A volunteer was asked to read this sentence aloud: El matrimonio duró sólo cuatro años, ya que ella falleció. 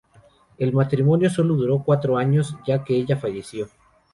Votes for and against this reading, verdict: 2, 2, rejected